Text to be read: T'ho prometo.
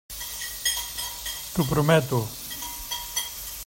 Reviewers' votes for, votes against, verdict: 1, 2, rejected